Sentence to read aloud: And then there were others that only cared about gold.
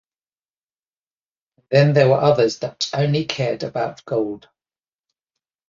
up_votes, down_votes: 1, 2